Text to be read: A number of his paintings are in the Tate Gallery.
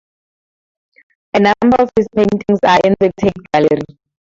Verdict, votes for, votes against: rejected, 0, 2